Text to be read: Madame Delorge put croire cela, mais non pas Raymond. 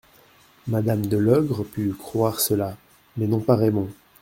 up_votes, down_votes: 0, 2